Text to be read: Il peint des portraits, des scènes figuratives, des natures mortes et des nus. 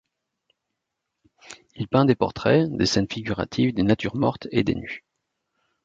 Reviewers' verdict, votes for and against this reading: rejected, 0, 2